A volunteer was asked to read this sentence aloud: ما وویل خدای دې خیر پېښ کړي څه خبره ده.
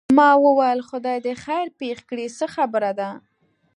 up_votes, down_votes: 2, 0